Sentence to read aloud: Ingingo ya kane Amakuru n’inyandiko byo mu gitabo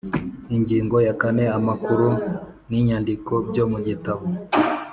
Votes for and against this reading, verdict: 2, 0, accepted